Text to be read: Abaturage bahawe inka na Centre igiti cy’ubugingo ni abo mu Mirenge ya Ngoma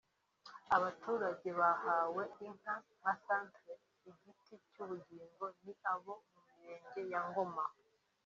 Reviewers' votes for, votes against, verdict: 1, 2, rejected